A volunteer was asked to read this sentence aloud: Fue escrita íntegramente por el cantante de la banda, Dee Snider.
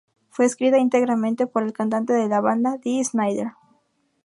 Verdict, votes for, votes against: accepted, 2, 0